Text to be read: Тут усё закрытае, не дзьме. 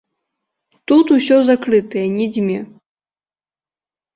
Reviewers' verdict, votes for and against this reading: accepted, 3, 0